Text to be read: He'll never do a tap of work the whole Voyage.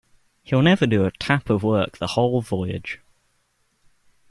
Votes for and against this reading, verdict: 2, 0, accepted